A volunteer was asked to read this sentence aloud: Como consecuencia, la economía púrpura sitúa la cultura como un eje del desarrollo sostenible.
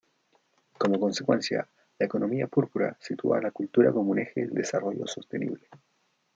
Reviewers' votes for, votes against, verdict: 1, 2, rejected